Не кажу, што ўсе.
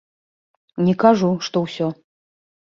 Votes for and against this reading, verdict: 0, 2, rejected